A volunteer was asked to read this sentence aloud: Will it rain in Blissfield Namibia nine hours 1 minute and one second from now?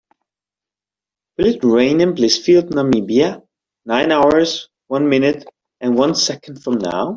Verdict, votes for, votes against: rejected, 0, 2